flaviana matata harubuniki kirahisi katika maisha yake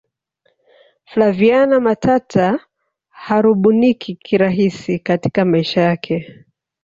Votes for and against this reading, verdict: 0, 2, rejected